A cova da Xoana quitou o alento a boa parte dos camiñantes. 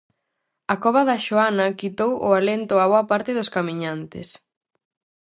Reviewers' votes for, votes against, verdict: 4, 0, accepted